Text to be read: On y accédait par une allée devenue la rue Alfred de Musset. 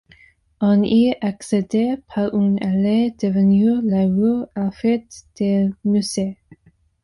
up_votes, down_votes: 2, 1